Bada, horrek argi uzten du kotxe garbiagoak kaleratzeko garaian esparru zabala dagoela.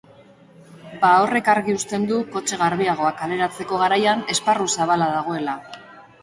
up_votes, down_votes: 2, 0